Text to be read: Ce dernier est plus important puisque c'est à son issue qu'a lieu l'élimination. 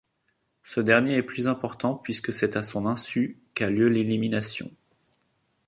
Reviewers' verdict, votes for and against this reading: rejected, 0, 2